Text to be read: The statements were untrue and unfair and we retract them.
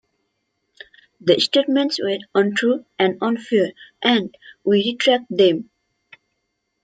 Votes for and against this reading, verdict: 1, 2, rejected